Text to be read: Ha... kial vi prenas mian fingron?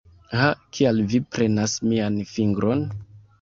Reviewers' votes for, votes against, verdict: 0, 2, rejected